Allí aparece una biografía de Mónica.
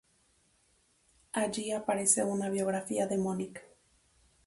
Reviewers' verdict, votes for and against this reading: rejected, 0, 2